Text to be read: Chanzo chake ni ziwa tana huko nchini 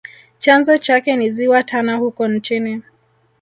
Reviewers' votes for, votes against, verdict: 1, 2, rejected